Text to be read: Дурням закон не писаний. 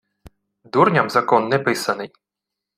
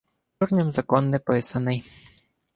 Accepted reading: first